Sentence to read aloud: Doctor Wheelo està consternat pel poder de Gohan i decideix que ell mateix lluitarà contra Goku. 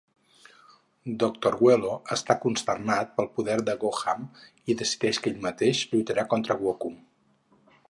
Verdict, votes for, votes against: rejected, 2, 4